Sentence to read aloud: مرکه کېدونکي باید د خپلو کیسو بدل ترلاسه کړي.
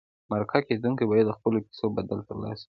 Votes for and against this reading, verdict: 2, 0, accepted